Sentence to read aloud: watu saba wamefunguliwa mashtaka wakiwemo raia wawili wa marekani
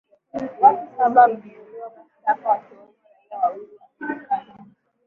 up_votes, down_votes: 5, 7